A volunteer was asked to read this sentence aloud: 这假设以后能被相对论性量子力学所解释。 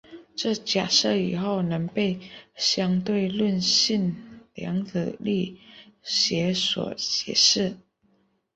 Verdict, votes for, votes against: accepted, 4, 0